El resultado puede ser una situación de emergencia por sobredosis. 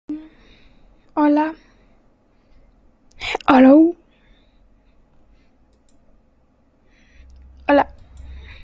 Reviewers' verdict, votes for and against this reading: rejected, 0, 2